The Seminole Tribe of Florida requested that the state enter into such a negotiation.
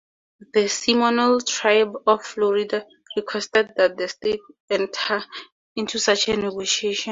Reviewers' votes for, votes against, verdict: 2, 0, accepted